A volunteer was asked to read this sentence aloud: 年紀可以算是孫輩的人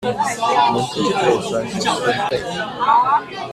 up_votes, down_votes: 1, 2